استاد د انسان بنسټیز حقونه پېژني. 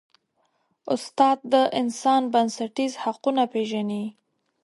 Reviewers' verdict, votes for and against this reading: accepted, 2, 0